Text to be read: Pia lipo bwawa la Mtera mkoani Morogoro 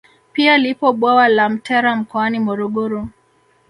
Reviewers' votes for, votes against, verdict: 0, 2, rejected